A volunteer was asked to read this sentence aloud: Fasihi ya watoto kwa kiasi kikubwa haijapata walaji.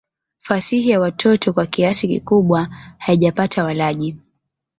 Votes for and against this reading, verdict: 0, 2, rejected